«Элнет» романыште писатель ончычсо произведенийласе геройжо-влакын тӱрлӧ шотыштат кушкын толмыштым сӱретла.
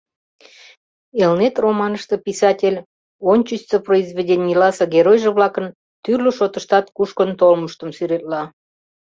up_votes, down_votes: 2, 0